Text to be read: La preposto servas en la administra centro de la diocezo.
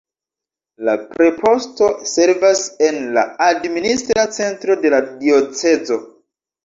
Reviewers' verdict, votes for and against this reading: accepted, 2, 0